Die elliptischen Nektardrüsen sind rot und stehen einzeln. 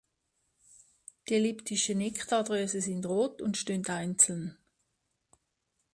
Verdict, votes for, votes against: accepted, 2, 1